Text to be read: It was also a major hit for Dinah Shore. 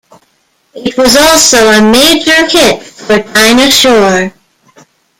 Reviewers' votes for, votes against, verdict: 1, 2, rejected